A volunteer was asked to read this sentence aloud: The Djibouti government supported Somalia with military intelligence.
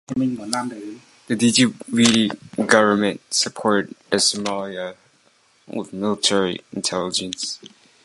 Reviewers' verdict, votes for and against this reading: accepted, 2, 1